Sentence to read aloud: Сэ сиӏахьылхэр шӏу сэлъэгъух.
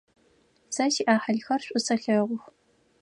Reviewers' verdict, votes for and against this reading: accepted, 4, 0